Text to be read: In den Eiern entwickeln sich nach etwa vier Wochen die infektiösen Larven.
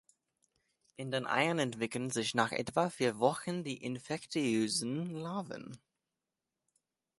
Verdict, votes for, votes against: accepted, 2, 1